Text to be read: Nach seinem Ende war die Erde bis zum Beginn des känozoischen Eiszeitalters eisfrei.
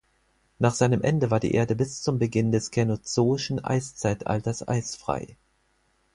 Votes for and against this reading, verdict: 4, 0, accepted